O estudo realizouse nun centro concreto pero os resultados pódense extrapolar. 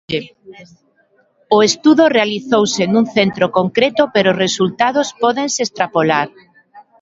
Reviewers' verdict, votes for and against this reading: rejected, 1, 2